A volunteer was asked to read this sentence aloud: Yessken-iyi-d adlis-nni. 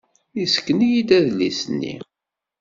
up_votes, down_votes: 2, 0